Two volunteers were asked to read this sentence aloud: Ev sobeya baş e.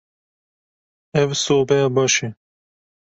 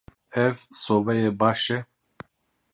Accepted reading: first